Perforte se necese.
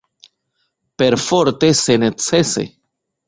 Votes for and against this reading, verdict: 1, 2, rejected